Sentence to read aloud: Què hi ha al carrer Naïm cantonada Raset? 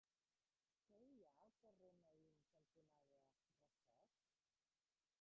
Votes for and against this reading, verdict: 0, 2, rejected